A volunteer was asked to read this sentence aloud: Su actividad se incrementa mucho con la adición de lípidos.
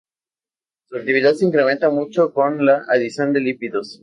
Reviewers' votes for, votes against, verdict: 2, 0, accepted